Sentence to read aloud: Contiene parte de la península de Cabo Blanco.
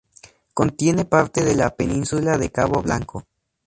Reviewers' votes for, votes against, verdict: 2, 0, accepted